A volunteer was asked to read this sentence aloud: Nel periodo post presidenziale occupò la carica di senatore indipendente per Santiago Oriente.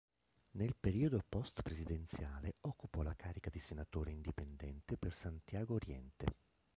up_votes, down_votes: 1, 2